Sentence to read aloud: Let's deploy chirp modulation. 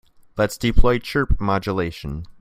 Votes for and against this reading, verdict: 2, 0, accepted